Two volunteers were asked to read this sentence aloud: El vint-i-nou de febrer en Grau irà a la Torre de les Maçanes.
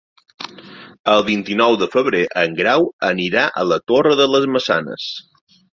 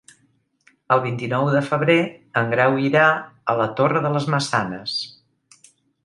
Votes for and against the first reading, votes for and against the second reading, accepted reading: 1, 2, 2, 0, second